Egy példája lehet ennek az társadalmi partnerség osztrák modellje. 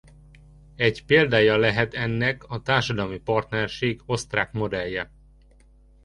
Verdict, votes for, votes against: accepted, 2, 1